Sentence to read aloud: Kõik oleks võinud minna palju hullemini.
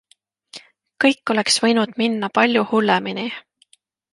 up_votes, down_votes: 2, 0